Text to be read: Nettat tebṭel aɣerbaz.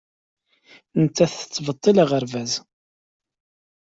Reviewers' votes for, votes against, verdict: 1, 2, rejected